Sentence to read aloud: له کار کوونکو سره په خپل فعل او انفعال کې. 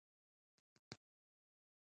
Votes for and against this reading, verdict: 0, 2, rejected